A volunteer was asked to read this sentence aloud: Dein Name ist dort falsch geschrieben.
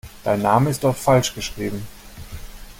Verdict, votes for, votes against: accepted, 2, 0